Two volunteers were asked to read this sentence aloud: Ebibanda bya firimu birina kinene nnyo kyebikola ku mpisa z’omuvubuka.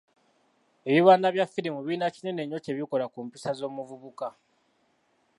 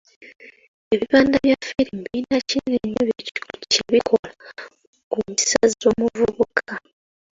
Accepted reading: first